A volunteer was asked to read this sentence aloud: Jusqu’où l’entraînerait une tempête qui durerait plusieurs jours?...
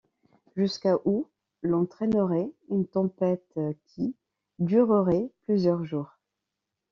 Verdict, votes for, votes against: rejected, 1, 2